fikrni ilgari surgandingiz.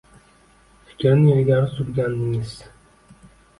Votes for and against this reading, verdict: 1, 2, rejected